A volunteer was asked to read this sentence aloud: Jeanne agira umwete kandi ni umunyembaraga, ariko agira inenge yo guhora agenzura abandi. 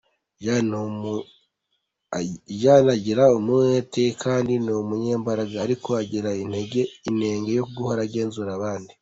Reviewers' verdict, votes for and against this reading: rejected, 1, 2